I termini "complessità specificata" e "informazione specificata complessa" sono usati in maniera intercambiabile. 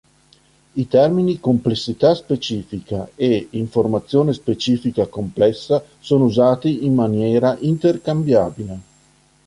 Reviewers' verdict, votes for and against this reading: rejected, 0, 3